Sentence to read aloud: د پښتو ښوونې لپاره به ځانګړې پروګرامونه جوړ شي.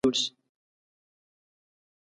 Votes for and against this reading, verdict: 0, 2, rejected